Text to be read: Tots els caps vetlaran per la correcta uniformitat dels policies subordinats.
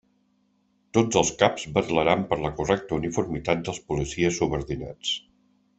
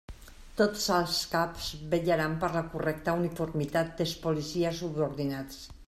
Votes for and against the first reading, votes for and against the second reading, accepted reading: 2, 0, 0, 2, first